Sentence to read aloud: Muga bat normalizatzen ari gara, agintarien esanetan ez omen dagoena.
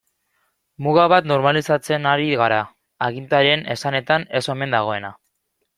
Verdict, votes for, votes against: accepted, 2, 0